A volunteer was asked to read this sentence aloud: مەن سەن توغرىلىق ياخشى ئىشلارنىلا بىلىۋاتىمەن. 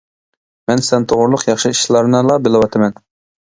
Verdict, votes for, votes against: accepted, 2, 1